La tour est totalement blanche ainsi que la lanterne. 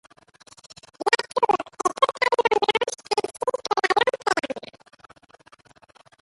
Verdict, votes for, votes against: rejected, 1, 2